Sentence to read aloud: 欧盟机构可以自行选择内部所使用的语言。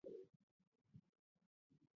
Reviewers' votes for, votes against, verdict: 0, 3, rejected